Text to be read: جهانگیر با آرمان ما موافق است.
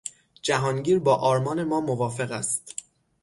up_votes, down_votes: 6, 0